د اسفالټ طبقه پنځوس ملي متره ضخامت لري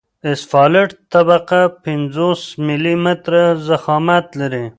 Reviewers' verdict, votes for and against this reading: accepted, 2, 1